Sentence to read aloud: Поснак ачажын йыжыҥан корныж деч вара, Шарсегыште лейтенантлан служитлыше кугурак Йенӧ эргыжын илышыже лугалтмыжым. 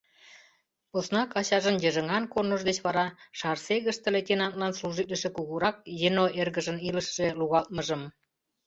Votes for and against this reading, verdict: 0, 2, rejected